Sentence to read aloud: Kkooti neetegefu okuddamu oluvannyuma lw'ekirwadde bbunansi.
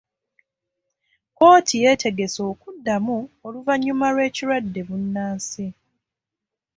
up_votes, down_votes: 1, 2